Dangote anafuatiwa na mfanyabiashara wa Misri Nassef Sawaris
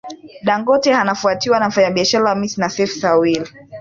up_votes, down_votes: 6, 1